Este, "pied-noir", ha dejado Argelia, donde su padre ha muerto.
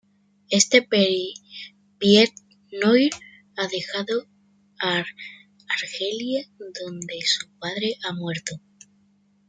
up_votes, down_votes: 2, 0